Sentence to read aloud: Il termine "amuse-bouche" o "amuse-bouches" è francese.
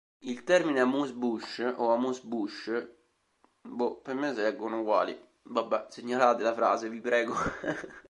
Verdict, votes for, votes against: rejected, 0, 2